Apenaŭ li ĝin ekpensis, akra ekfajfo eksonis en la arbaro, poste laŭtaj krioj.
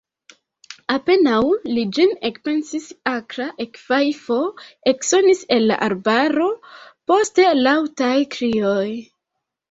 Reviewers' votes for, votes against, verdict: 0, 2, rejected